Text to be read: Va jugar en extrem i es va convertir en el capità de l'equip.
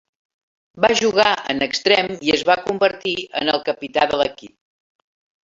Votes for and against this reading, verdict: 2, 0, accepted